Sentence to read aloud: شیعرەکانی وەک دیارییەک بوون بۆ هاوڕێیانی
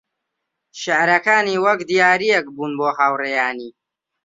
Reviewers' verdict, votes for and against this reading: accepted, 2, 0